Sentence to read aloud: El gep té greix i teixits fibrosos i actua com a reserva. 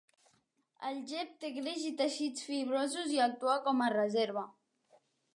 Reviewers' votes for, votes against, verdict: 2, 0, accepted